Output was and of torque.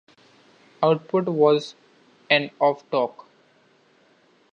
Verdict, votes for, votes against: accepted, 2, 0